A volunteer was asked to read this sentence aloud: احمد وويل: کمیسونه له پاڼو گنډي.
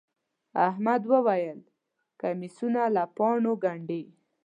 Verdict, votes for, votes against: accepted, 2, 0